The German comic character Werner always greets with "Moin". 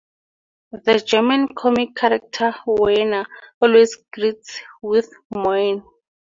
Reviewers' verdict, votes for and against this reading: accepted, 6, 2